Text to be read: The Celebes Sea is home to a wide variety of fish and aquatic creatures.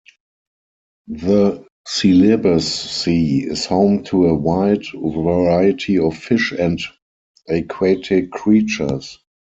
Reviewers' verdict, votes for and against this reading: rejected, 2, 4